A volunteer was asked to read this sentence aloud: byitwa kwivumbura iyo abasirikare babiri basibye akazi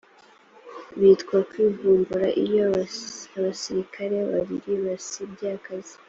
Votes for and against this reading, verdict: 2, 1, accepted